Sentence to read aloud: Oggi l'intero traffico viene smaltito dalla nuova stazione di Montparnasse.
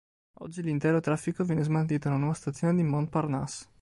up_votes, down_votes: 0, 2